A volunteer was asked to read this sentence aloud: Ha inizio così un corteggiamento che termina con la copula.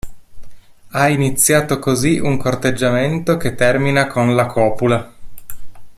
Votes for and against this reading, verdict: 1, 2, rejected